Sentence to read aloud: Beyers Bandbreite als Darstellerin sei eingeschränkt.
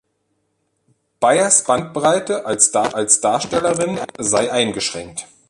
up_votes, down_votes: 0, 2